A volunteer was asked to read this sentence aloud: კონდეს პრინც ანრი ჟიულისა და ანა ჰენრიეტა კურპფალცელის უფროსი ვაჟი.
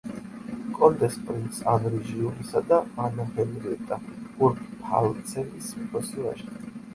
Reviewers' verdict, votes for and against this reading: rejected, 0, 2